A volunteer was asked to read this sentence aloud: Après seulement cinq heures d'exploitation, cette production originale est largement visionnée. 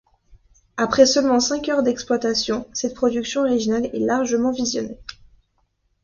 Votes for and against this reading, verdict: 2, 0, accepted